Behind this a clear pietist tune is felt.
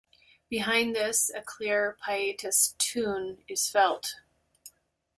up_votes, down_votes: 2, 0